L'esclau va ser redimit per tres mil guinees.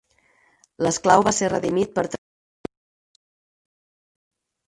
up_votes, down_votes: 2, 4